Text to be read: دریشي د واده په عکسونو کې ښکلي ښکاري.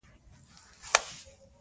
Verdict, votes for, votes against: rejected, 0, 2